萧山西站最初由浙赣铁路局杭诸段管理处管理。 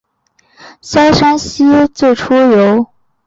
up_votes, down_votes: 1, 2